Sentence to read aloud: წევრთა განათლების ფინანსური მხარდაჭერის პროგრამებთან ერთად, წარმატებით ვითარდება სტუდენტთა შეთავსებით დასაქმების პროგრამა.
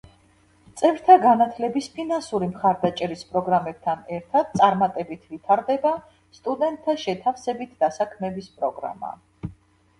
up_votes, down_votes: 2, 0